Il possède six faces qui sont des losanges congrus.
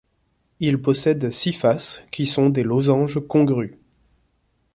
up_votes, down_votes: 2, 0